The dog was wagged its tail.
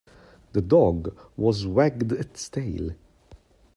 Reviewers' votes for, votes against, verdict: 2, 1, accepted